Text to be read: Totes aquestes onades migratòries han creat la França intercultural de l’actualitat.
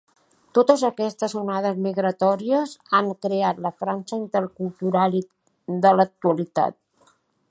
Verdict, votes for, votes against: rejected, 1, 2